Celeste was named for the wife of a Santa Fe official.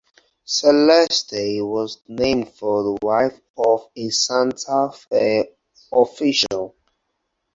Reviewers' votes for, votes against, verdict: 4, 0, accepted